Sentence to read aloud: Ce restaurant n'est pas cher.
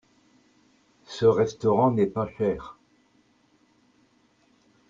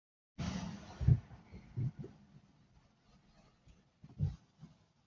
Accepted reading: first